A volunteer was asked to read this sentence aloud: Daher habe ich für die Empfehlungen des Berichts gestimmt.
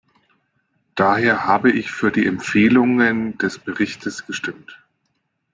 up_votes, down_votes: 1, 2